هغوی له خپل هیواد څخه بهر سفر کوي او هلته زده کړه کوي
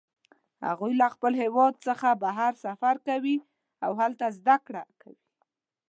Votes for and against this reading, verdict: 1, 2, rejected